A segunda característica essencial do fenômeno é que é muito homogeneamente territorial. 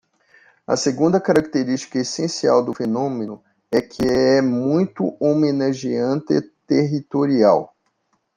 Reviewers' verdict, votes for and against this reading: rejected, 0, 2